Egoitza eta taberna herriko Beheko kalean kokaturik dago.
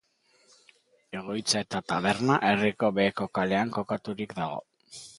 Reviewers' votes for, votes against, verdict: 2, 0, accepted